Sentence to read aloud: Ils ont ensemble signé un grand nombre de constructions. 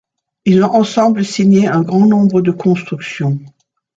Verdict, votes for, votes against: rejected, 1, 2